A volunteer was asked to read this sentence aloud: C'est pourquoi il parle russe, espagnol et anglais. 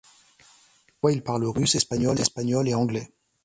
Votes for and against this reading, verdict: 0, 2, rejected